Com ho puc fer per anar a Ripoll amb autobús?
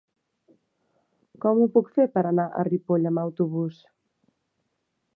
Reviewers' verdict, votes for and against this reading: accepted, 2, 0